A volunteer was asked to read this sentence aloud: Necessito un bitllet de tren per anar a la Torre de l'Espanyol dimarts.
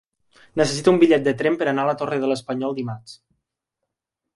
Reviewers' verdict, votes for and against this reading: accepted, 4, 0